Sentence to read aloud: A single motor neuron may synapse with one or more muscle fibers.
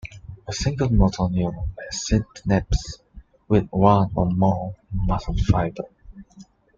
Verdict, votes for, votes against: rejected, 0, 2